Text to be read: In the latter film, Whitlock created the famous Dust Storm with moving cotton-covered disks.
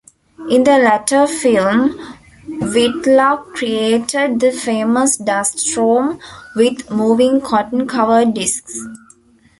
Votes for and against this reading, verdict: 1, 2, rejected